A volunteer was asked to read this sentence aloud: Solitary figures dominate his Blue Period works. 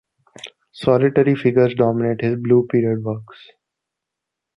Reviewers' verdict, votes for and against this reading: accepted, 2, 0